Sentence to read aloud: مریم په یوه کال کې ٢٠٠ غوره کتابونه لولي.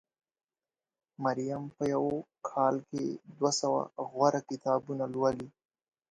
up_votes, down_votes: 0, 2